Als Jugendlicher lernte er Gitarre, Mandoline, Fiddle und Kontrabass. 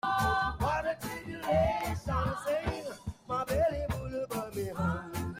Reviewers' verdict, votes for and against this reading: rejected, 0, 2